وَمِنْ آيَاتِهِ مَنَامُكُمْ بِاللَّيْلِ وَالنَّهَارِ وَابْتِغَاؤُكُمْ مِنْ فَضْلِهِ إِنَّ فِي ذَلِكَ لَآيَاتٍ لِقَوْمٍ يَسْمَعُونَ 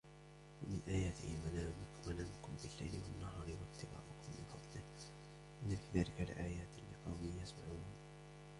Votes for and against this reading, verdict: 0, 2, rejected